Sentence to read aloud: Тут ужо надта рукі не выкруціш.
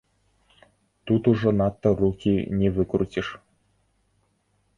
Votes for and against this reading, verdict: 2, 0, accepted